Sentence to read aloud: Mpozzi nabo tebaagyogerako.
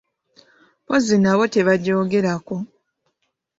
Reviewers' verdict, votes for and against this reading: rejected, 1, 2